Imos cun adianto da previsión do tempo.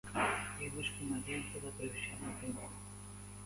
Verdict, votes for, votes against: rejected, 0, 3